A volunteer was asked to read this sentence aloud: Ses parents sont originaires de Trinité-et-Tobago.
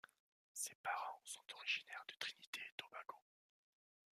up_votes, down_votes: 1, 2